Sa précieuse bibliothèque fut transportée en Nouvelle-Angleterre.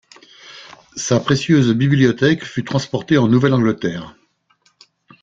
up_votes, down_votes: 2, 0